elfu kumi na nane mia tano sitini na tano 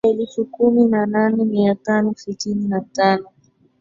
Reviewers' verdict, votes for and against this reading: rejected, 1, 2